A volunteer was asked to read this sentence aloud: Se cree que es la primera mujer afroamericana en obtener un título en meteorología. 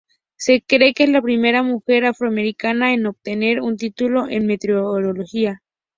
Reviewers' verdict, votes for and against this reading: accepted, 2, 0